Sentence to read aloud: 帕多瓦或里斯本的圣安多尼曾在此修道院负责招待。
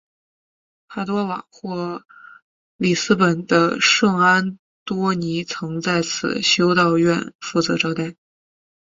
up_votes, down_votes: 2, 0